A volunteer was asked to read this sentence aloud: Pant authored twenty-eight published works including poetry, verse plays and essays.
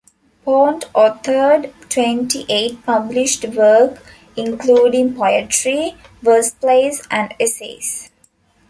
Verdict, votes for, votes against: rejected, 0, 2